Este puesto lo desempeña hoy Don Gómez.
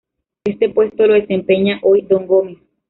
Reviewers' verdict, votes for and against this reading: accepted, 2, 0